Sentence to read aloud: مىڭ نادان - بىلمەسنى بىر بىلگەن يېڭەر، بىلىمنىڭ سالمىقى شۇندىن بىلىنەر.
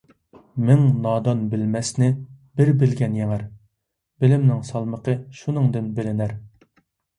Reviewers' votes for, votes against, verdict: 2, 0, accepted